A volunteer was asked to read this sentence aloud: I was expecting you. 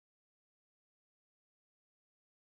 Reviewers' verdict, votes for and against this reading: rejected, 0, 2